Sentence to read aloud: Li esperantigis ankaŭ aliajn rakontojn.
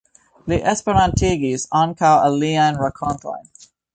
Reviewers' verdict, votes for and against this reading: accepted, 2, 0